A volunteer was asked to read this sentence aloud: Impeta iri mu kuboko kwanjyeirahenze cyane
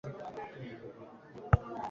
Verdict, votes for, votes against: rejected, 1, 2